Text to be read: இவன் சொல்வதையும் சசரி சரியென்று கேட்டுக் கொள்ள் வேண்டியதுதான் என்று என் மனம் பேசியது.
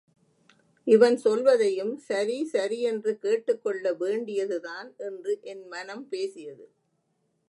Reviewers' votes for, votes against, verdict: 1, 2, rejected